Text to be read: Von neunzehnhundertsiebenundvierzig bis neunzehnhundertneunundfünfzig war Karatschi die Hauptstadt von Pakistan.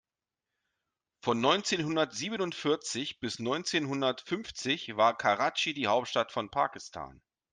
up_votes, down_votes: 0, 2